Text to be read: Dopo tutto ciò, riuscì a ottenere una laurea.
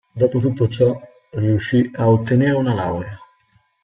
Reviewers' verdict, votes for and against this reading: rejected, 1, 2